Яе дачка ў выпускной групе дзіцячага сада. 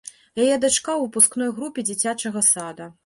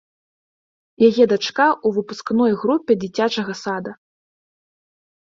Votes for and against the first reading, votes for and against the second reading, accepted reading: 1, 2, 2, 1, second